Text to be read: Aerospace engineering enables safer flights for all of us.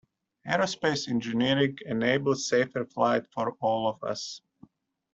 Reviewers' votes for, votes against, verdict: 1, 2, rejected